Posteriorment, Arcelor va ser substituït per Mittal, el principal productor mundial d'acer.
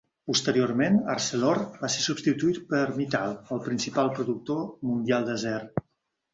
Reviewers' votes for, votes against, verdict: 1, 2, rejected